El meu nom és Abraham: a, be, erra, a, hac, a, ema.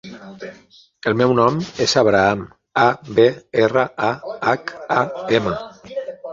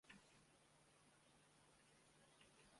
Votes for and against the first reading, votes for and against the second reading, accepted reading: 5, 1, 0, 2, first